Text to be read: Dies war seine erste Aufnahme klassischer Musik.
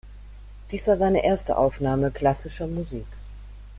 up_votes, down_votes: 1, 2